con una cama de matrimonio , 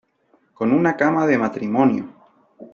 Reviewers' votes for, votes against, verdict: 1, 2, rejected